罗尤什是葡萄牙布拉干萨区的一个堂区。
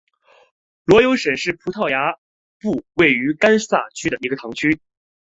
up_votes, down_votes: 0, 2